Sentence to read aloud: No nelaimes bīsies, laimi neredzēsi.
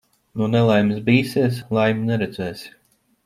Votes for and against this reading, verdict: 2, 0, accepted